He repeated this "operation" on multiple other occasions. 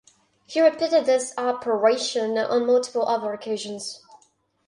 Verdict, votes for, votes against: accepted, 4, 0